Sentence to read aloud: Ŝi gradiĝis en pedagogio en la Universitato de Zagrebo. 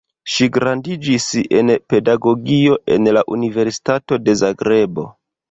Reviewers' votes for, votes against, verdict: 2, 1, accepted